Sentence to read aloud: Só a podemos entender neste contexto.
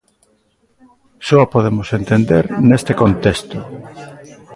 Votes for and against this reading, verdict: 2, 0, accepted